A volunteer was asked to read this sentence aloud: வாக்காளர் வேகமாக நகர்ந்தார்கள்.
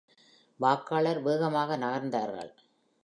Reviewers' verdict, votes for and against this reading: accepted, 2, 0